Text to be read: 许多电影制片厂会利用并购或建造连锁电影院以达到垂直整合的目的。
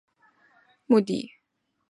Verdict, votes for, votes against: accepted, 3, 0